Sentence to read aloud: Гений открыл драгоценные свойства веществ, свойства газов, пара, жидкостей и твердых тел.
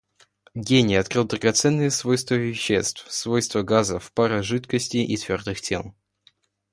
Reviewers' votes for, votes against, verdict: 2, 0, accepted